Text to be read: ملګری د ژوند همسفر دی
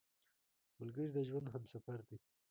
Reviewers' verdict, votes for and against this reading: rejected, 1, 3